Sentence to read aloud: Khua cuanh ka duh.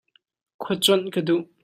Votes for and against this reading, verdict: 2, 0, accepted